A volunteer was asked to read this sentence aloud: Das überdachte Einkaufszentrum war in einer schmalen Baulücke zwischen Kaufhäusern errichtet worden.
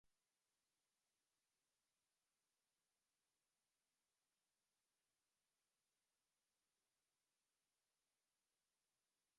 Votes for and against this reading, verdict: 0, 2, rejected